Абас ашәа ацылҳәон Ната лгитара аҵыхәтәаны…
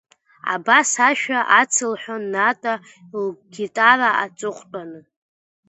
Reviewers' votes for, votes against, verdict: 2, 1, accepted